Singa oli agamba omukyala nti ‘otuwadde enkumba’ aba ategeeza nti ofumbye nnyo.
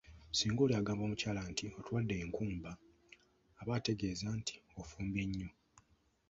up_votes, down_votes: 1, 2